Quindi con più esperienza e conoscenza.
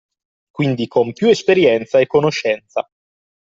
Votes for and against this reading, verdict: 2, 0, accepted